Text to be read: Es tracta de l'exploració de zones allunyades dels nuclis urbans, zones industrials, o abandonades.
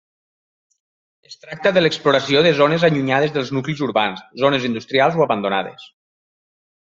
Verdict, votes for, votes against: accepted, 4, 2